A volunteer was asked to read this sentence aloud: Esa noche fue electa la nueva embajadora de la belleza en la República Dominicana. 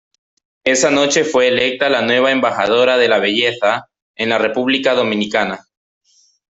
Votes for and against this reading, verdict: 0, 2, rejected